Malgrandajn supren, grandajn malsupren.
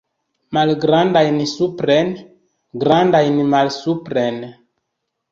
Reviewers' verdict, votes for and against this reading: accepted, 2, 1